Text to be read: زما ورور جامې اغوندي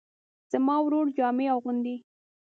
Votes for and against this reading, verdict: 2, 0, accepted